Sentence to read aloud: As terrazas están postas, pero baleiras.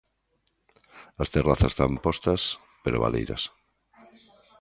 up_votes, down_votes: 1, 2